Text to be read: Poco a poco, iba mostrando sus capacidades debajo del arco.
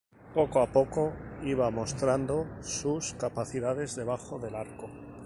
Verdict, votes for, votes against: accepted, 2, 0